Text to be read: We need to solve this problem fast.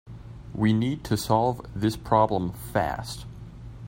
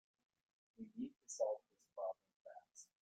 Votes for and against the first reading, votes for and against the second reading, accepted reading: 2, 0, 1, 2, first